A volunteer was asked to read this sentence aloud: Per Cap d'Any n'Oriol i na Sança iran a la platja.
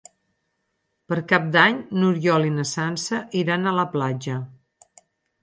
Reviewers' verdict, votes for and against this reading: accepted, 8, 0